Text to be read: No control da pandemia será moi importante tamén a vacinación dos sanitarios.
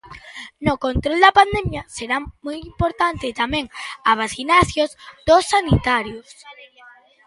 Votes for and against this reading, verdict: 0, 2, rejected